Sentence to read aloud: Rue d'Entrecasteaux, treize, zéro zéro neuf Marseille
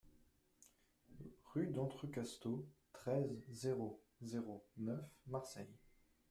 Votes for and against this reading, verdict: 1, 2, rejected